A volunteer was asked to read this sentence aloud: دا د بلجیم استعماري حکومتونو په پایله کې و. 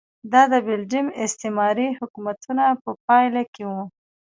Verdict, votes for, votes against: accepted, 2, 1